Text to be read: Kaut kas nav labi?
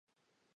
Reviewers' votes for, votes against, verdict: 0, 2, rejected